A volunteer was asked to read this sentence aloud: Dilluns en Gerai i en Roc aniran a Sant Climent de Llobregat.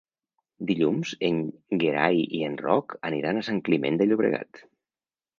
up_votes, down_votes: 1, 2